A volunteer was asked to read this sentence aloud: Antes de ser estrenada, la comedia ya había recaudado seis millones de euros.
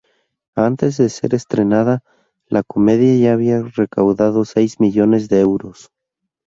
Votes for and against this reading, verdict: 0, 2, rejected